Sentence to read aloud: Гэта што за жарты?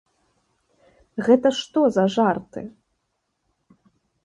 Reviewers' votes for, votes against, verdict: 2, 0, accepted